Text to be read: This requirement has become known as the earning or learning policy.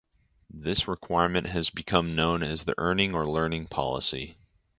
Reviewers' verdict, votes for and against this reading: rejected, 0, 2